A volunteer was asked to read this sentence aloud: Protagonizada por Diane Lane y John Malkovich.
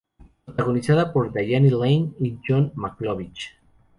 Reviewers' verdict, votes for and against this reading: rejected, 0, 4